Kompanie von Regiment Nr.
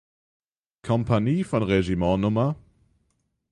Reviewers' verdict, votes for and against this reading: rejected, 3, 6